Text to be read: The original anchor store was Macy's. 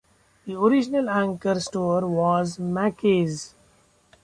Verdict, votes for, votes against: rejected, 0, 2